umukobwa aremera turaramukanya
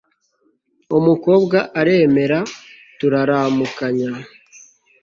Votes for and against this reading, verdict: 2, 0, accepted